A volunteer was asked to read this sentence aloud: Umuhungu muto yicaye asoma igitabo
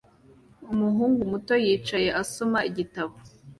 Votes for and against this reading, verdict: 2, 0, accepted